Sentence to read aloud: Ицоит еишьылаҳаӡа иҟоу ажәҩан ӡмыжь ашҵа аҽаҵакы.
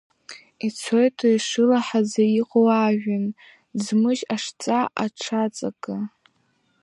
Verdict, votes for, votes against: rejected, 0, 2